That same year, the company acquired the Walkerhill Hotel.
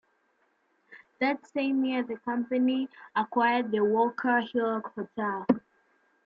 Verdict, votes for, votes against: accepted, 2, 0